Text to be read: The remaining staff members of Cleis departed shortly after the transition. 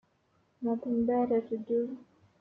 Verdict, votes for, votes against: rejected, 0, 2